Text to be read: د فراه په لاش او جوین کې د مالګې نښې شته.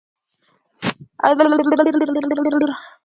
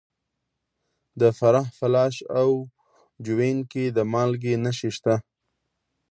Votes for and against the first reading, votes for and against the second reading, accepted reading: 0, 3, 2, 0, second